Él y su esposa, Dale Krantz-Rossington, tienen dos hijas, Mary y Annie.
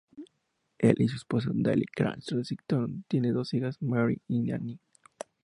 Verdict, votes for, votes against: rejected, 0, 2